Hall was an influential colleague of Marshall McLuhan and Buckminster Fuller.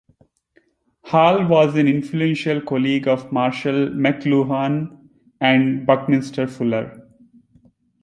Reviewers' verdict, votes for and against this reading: accepted, 2, 0